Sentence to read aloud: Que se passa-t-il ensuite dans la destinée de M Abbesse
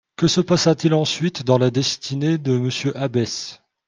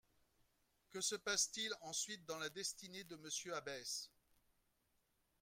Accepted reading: first